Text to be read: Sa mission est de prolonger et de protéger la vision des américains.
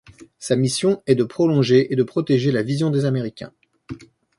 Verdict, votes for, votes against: accepted, 2, 1